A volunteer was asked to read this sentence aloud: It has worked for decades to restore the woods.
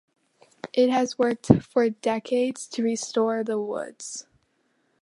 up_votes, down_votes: 2, 0